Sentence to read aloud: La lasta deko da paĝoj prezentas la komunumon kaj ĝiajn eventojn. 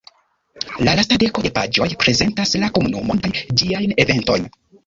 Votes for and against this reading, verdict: 1, 3, rejected